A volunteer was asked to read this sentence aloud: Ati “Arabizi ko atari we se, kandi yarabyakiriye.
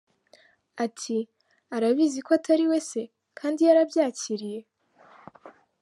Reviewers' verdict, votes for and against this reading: accepted, 3, 0